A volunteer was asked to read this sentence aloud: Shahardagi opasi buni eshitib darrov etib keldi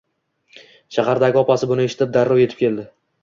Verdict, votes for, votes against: accepted, 2, 0